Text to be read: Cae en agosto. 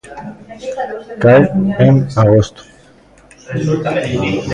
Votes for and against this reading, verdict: 1, 2, rejected